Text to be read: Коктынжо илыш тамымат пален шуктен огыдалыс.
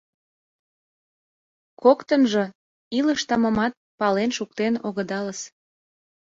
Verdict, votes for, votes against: accepted, 2, 0